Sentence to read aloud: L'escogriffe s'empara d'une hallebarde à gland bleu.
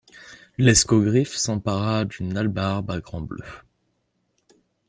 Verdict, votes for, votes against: rejected, 1, 2